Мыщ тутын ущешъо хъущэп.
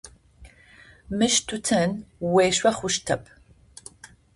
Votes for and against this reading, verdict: 0, 2, rejected